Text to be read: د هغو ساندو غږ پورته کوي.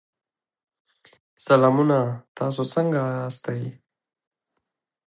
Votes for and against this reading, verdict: 1, 2, rejected